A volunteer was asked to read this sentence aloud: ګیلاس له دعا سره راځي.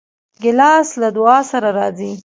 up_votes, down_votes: 1, 2